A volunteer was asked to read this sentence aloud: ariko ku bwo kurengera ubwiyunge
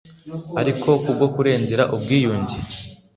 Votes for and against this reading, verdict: 2, 0, accepted